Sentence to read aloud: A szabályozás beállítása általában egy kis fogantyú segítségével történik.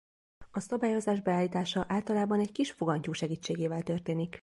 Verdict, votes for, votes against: accepted, 2, 0